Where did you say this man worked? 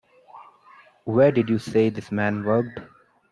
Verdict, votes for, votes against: accepted, 2, 0